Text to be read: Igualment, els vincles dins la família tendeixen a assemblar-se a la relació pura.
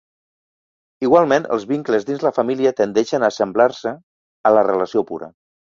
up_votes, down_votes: 2, 0